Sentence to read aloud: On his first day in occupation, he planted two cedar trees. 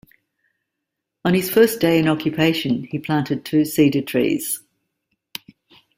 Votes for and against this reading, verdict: 2, 0, accepted